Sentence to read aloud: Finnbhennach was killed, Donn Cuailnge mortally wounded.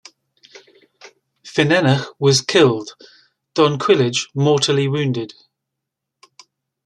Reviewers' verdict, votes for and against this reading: accepted, 2, 1